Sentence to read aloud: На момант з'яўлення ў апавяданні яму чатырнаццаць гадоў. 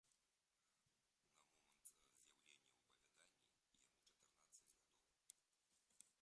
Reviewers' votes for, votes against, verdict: 0, 2, rejected